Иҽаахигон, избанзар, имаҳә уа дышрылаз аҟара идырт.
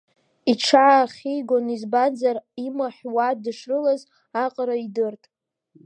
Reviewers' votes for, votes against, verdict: 2, 0, accepted